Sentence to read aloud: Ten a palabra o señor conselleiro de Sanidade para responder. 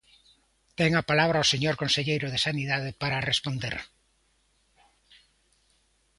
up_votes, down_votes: 2, 0